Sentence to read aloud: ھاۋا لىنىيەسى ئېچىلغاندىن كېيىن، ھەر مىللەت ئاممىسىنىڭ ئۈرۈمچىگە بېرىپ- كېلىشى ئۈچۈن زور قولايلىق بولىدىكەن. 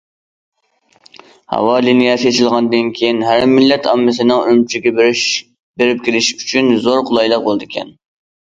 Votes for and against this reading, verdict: 0, 2, rejected